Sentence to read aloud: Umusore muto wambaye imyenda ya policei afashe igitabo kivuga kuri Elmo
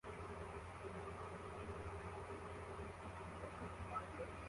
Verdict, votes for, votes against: rejected, 0, 2